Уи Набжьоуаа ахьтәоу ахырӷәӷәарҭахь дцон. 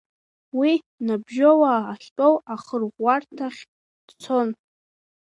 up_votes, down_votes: 0, 2